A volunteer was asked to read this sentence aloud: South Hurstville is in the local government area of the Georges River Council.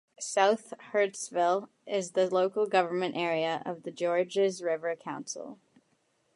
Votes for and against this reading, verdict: 1, 2, rejected